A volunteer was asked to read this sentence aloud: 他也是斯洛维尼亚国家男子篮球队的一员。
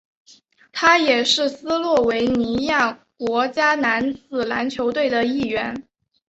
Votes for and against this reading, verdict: 3, 0, accepted